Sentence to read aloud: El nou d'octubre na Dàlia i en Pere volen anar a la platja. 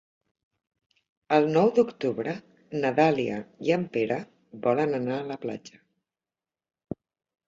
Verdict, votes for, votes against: accepted, 3, 0